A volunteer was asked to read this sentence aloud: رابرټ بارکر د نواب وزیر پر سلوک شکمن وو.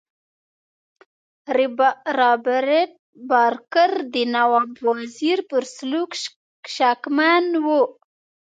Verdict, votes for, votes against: rejected, 1, 2